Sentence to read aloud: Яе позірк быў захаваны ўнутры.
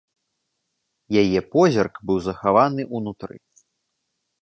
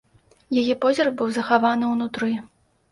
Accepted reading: second